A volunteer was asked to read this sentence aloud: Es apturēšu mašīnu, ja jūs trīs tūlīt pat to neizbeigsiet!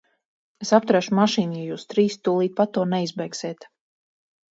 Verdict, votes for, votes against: accepted, 4, 0